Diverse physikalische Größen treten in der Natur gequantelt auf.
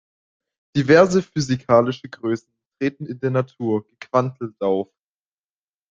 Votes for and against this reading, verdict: 1, 2, rejected